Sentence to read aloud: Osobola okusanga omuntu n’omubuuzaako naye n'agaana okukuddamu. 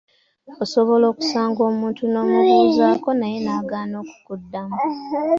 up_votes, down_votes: 2, 1